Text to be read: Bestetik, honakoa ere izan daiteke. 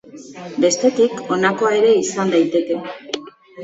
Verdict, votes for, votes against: accepted, 2, 1